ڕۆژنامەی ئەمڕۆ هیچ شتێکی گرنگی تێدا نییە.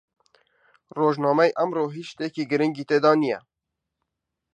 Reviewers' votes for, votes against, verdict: 2, 0, accepted